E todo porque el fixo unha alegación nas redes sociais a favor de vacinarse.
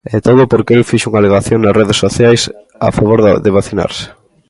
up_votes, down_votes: 1, 2